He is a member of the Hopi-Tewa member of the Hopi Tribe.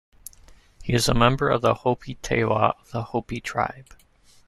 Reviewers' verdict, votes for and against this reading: rejected, 1, 2